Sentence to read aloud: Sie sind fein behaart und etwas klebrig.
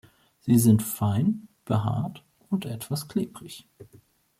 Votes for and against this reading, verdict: 2, 0, accepted